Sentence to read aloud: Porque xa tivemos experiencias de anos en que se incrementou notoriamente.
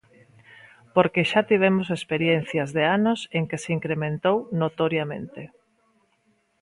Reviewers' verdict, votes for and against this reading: accepted, 2, 0